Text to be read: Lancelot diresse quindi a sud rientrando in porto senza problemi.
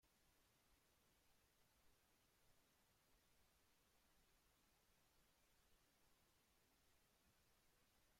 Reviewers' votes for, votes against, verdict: 0, 2, rejected